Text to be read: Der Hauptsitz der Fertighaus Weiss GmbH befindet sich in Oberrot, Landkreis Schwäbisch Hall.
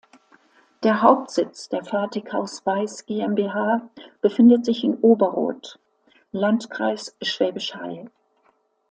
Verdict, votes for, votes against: accepted, 2, 0